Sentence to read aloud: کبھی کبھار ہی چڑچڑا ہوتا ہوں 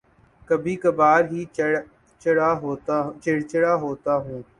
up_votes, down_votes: 4, 1